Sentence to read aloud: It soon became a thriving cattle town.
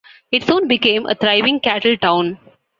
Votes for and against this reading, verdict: 2, 0, accepted